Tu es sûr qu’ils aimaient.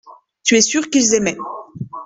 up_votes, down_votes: 2, 0